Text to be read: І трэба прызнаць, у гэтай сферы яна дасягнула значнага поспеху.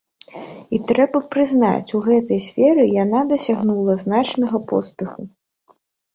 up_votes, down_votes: 2, 0